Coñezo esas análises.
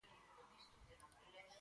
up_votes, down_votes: 2, 4